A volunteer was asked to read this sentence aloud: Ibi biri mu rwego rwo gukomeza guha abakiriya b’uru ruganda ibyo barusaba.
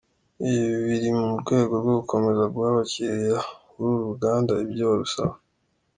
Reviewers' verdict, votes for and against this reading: accepted, 2, 1